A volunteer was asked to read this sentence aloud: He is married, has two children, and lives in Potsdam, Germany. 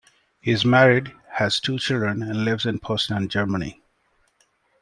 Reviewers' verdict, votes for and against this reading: rejected, 0, 2